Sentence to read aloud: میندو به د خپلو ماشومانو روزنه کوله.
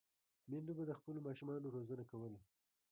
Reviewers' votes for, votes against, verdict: 1, 2, rejected